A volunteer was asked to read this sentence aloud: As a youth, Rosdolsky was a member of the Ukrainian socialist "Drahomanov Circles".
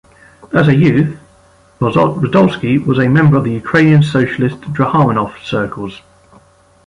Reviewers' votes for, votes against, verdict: 1, 2, rejected